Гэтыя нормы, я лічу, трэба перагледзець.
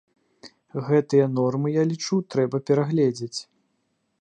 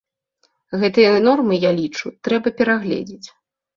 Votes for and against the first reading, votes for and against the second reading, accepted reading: 2, 0, 2, 4, first